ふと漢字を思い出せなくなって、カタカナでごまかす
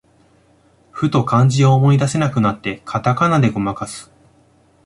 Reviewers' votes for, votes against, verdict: 2, 1, accepted